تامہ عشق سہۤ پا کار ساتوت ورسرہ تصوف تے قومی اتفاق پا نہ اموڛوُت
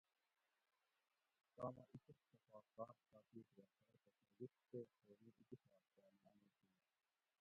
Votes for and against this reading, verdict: 0, 2, rejected